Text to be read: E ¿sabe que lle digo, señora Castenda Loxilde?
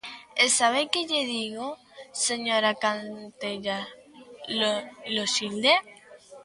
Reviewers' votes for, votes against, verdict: 0, 3, rejected